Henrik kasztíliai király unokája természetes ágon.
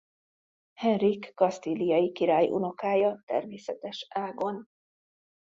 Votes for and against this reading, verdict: 2, 0, accepted